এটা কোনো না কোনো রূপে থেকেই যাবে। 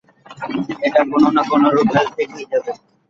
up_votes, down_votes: 1, 2